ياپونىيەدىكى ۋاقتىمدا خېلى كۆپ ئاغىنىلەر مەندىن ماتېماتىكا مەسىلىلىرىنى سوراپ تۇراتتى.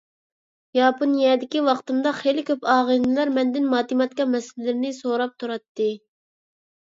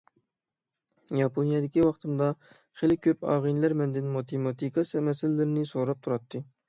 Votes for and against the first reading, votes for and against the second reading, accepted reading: 2, 0, 0, 6, first